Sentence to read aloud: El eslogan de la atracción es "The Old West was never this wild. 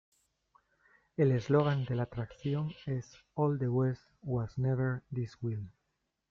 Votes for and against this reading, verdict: 1, 2, rejected